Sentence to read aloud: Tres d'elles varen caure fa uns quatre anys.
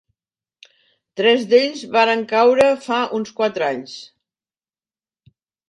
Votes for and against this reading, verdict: 1, 2, rejected